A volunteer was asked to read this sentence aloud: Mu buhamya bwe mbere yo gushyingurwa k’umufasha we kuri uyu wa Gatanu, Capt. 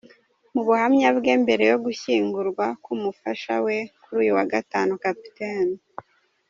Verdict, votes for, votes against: accepted, 2, 0